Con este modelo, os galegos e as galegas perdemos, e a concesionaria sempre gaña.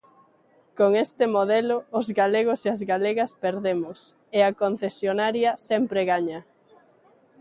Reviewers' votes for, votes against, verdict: 2, 0, accepted